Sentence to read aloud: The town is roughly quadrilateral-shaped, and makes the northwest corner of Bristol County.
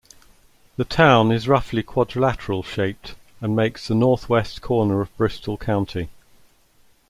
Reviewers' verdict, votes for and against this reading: accepted, 2, 0